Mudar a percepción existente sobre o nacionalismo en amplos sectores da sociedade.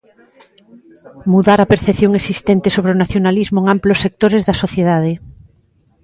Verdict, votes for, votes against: rejected, 0, 2